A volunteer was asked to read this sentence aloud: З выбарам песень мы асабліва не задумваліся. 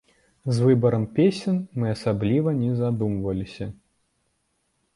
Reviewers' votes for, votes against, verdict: 1, 2, rejected